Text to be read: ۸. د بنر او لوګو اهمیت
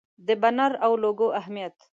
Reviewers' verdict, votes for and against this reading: rejected, 0, 2